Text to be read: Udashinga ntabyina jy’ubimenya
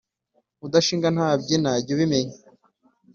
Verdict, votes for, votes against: accepted, 2, 0